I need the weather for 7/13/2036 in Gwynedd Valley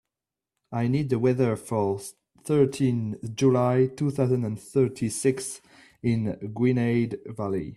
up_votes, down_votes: 0, 2